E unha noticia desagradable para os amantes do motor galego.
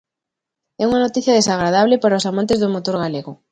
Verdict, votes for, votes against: accepted, 2, 0